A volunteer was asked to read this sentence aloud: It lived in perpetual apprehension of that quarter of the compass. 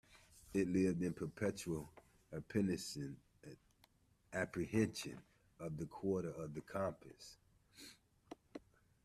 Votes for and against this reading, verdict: 0, 2, rejected